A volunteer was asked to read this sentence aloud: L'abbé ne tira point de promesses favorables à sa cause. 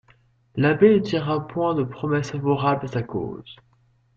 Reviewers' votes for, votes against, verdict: 1, 2, rejected